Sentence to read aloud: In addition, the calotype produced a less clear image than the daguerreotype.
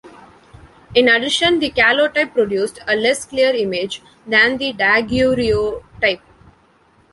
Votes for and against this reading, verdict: 1, 2, rejected